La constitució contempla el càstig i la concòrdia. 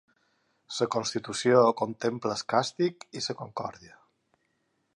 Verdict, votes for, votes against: accepted, 2, 0